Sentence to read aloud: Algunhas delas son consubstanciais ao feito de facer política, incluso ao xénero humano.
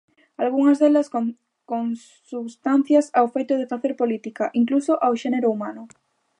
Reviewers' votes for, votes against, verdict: 0, 2, rejected